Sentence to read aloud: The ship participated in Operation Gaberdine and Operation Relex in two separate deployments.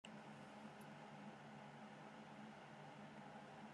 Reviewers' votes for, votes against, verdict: 0, 2, rejected